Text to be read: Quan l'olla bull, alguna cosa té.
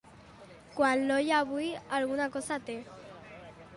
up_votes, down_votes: 0, 2